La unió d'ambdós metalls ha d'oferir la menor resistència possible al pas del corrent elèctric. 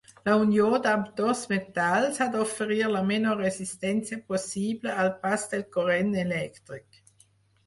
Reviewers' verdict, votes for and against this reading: rejected, 2, 4